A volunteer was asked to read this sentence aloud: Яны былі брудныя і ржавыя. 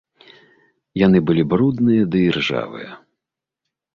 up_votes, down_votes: 1, 2